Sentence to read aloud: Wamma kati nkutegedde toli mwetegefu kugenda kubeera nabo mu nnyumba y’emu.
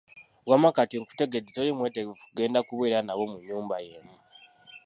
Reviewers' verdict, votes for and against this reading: accepted, 2, 0